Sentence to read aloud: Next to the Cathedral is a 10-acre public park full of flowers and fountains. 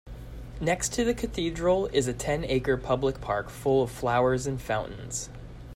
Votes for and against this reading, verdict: 0, 2, rejected